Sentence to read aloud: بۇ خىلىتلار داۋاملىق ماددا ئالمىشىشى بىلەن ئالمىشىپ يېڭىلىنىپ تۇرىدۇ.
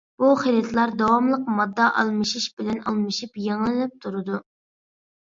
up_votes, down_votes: 2, 1